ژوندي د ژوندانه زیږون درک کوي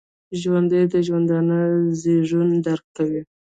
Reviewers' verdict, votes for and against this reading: rejected, 1, 2